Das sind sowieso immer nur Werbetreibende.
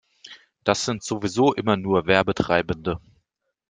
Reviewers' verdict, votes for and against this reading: accepted, 2, 0